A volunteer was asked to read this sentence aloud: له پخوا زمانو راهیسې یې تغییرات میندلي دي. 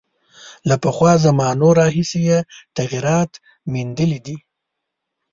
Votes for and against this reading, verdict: 2, 0, accepted